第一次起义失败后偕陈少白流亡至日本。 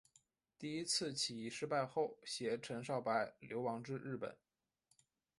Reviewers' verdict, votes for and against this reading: accepted, 5, 1